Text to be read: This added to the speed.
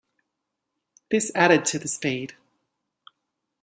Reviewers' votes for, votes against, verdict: 2, 0, accepted